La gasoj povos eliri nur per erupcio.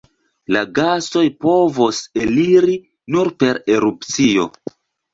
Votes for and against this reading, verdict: 2, 0, accepted